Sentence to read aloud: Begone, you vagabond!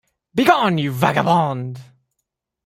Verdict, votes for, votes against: accepted, 2, 0